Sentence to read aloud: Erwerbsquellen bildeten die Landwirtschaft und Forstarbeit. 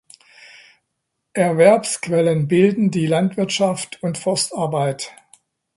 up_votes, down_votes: 0, 2